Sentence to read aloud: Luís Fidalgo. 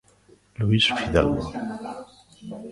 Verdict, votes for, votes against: rejected, 1, 2